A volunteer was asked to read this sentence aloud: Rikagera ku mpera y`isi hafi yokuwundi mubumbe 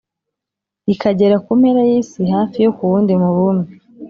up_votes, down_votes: 3, 0